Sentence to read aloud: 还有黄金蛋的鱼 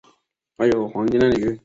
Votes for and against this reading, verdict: 0, 2, rejected